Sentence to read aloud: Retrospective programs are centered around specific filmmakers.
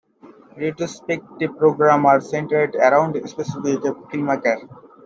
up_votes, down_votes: 0, 2